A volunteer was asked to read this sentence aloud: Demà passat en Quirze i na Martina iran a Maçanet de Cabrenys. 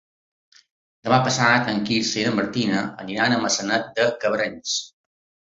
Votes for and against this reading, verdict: 2, 1, accepted